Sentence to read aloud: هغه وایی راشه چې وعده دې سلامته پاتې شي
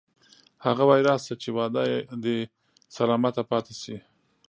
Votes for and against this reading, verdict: 2, 0, accepted